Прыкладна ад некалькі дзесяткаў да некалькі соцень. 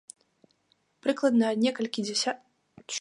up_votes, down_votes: 0, 2